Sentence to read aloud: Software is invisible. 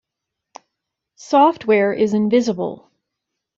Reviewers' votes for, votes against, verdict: 0, 2, rejected